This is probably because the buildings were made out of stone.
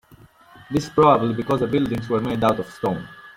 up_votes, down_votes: 0, 2